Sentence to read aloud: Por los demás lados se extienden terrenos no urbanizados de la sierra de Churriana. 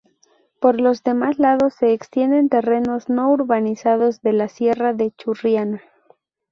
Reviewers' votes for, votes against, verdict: 2, 2, rejected